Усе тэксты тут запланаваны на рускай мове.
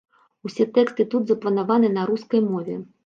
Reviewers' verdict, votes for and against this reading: rejected, 1, 2